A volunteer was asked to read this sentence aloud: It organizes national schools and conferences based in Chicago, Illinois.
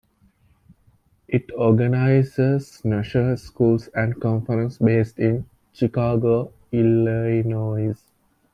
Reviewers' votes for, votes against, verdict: 0, 2, rejected